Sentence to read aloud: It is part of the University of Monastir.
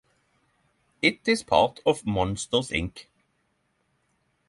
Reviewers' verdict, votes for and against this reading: rejected, 0, 3